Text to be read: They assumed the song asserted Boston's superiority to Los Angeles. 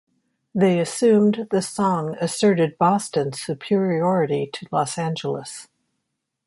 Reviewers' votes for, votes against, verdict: 2, 0, accepted